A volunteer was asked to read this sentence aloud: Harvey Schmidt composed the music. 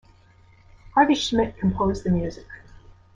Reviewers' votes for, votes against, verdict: 2, 0, accepted